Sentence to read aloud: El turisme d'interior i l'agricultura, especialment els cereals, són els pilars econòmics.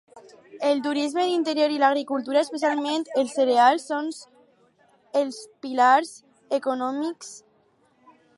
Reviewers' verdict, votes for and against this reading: rejected, 0, 4